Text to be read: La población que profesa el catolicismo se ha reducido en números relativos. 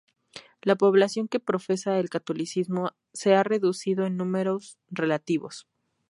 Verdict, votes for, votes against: accepted, 2, 0